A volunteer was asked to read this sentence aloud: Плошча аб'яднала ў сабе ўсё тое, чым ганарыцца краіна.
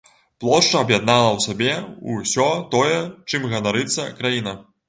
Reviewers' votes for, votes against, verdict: 3, 0, accepted